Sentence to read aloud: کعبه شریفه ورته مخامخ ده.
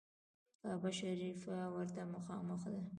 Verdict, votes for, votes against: rejected, 0, 2